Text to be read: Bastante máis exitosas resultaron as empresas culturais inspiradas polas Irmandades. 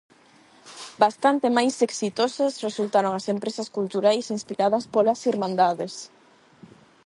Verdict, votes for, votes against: rejected, 4, 4